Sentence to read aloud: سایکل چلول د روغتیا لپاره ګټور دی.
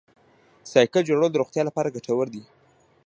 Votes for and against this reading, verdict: 1, 2, rejected